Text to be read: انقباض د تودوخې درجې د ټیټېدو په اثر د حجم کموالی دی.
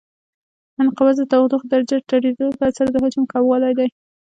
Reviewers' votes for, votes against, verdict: 2, 0, accepted